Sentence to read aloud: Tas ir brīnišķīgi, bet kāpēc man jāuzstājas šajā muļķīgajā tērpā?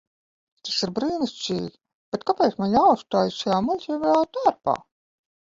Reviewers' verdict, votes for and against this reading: rejected, 0, 2